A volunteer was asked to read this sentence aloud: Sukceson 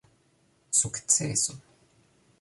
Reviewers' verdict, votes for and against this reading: rejected, 1, 2